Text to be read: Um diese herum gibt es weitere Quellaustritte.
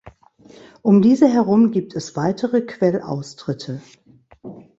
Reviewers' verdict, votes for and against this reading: accepted, 3, 0